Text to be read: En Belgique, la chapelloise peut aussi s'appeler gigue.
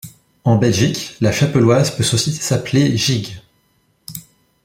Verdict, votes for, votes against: rejected, 0, 2